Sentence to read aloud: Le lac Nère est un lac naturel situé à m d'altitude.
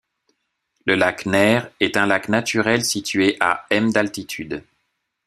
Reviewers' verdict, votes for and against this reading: accepted, 2, 1